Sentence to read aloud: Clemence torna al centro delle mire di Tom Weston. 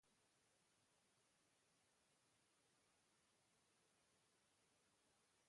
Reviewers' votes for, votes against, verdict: 0, 2, rejected